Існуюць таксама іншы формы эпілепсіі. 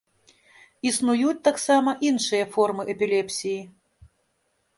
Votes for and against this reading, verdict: 1, 2, rejected